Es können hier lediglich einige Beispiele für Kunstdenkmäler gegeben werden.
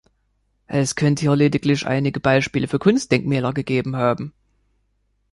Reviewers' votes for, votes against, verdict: 1, 2, rejected